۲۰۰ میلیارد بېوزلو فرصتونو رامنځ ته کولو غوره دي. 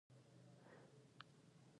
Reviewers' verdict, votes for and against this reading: rejected, 0, 2